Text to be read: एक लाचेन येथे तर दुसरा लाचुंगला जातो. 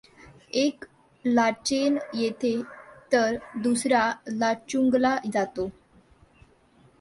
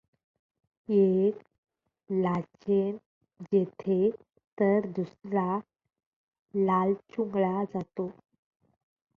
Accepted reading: first